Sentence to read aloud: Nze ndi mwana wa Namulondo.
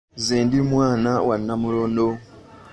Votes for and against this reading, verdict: 2, 3, rejected